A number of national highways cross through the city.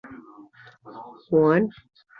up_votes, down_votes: 0, 2